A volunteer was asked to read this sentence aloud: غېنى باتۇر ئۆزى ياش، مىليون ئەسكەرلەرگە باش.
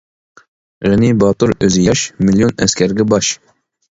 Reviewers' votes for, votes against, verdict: 0, 2, rejected